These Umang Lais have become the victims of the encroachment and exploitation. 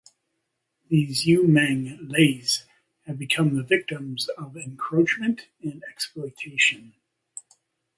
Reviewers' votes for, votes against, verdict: 2, 0, accepted